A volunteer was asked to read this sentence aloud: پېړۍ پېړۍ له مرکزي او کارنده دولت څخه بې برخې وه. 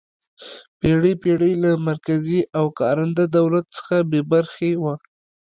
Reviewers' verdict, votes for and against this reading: accepted, 2, 0